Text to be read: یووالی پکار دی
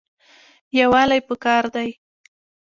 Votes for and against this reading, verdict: 0, 2, rejected